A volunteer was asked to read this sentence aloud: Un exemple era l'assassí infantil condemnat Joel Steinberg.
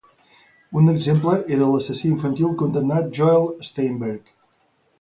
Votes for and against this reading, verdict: 2, 0, accepted